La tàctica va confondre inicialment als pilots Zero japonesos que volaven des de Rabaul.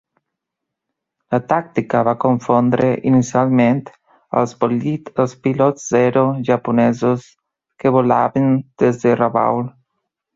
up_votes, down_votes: 0, 2